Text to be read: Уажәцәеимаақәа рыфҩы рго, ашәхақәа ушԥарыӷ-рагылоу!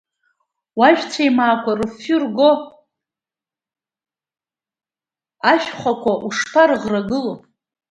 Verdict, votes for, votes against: accepted, 2, 1